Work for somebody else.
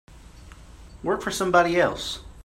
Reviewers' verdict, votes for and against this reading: accepted, 2, 0